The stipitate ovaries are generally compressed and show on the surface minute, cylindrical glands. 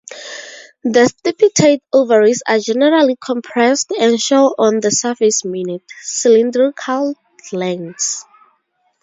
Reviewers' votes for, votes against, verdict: 2, 0, accepted